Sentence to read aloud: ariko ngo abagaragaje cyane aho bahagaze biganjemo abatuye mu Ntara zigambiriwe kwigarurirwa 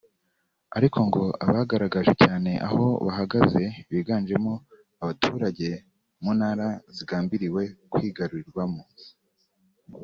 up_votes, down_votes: 0, 2